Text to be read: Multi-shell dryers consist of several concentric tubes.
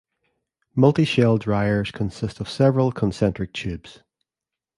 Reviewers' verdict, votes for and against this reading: accepted, 2, 0